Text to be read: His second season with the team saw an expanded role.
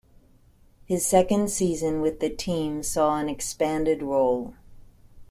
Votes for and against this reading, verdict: 2, 0, accepted